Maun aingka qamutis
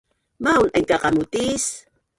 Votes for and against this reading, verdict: 1, 3, rejected